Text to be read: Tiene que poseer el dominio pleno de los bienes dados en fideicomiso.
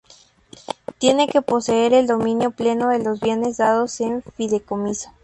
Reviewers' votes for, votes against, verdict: 2, 0, accepted